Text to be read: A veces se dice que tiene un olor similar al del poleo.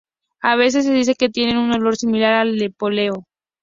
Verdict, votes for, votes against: accepted, 2, 0